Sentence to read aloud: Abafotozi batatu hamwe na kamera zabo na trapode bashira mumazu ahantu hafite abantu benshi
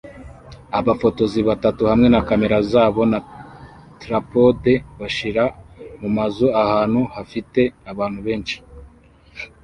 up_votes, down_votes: 2, 0